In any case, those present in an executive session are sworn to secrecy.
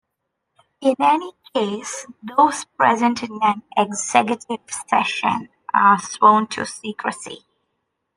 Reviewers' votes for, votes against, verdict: 2, 0, accepted